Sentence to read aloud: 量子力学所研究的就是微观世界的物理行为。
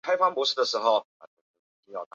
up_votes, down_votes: 2, 3